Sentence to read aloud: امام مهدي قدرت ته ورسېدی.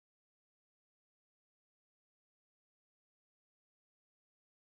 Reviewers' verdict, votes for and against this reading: rejected, 1, 2